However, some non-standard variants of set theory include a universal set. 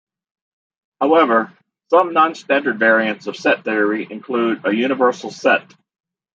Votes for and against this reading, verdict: 0, 2, rejected